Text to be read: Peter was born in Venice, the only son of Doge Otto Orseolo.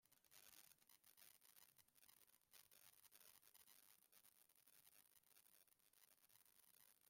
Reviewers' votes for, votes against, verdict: 0, 2, rejected